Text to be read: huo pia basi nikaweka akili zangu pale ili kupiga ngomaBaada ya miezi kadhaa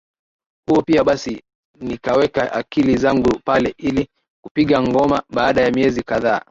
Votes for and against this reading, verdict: 4, 0, accepted